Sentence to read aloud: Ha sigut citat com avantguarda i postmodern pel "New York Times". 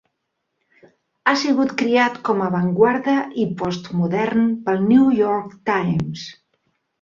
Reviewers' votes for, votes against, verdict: 0, 2, rejected